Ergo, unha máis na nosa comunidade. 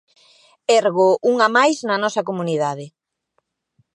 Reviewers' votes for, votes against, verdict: 2, 0, accepted